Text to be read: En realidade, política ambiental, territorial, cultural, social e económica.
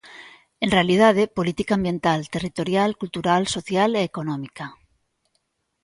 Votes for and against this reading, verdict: 2, 0, accepted